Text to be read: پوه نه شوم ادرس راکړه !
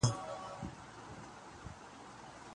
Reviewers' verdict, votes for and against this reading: rejected, 0, 9